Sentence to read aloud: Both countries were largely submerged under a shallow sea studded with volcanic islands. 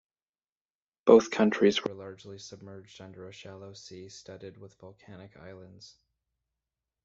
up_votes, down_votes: 0, 2